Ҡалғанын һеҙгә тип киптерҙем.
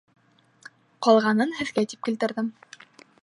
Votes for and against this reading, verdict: 0, 2, rejected